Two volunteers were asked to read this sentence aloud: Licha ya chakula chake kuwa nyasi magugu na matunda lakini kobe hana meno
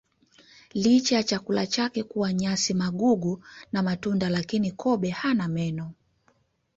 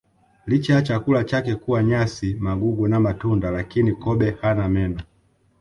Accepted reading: first